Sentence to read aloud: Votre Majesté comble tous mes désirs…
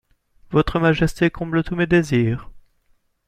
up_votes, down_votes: 2, 0